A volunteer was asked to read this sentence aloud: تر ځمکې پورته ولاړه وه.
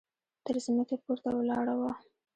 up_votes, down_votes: 1, 2